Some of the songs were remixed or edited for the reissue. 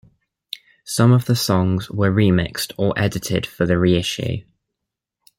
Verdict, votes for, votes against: accepted, 2, 1